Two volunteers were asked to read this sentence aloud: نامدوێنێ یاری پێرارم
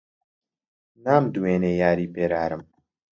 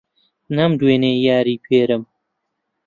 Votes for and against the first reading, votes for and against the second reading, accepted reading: 2, 0, 1, 4, first